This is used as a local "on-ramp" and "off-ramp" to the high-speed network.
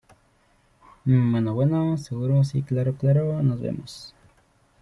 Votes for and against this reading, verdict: 0, 2, rejected